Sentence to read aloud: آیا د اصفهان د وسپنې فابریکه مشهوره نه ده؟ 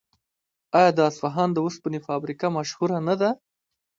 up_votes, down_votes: 1, 2